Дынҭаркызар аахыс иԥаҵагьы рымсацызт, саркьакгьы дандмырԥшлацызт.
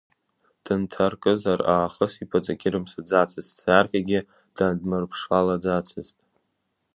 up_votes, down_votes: 0, 2